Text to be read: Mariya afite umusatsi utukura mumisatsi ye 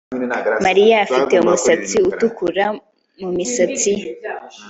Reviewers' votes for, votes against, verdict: 2, 0, accepted